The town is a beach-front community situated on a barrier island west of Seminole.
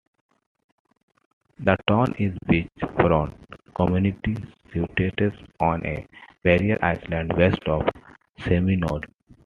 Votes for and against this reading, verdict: 0, 2, rejected